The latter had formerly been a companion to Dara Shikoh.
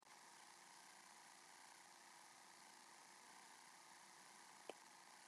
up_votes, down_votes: 0, 2